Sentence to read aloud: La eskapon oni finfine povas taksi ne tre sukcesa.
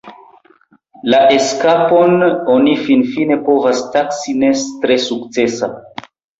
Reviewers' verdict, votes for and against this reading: rejected, 0, 2